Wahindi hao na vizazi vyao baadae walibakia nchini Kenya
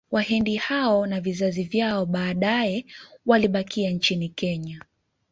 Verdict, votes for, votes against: rejected, 0, 2